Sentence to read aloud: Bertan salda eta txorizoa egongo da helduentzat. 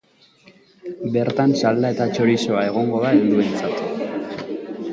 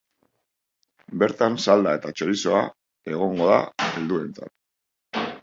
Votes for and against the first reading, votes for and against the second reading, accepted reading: 0, 2, 4, 0, second